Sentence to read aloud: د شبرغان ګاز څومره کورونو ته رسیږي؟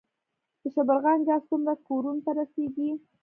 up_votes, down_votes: 2, 0